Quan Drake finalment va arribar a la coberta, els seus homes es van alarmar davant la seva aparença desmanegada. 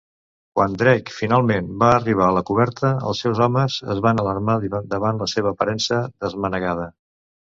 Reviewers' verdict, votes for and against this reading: rejected, 0, 2